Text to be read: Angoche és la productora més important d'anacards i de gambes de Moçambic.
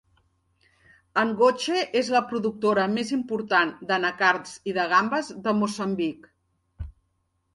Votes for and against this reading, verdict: 2, 0, accepted